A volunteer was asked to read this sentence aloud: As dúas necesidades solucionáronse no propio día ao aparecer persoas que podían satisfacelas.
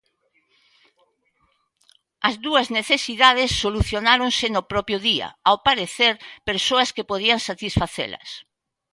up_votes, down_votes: 2, 0